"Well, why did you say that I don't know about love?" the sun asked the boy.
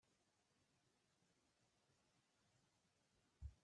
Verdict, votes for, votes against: rejected, 0, 3